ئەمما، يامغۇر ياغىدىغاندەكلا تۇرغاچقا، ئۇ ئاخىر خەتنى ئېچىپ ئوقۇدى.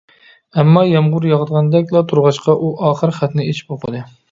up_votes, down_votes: 2, 0